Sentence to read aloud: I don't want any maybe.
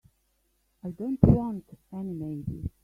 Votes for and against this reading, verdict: 3, 1, accepted